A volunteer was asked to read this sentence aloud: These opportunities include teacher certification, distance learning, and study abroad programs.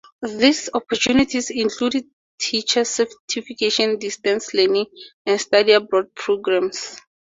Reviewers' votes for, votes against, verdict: 4, 0, accepted